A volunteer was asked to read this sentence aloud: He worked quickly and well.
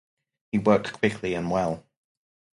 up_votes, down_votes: 4, 2